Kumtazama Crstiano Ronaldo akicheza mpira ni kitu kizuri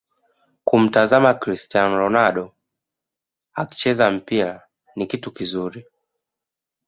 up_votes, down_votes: 2, 1